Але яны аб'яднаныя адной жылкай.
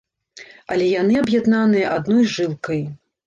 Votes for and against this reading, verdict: 2, 0, accepted